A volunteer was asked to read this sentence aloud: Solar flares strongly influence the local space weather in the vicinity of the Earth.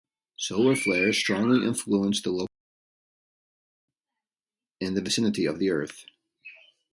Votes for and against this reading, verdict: 0, 2, rejected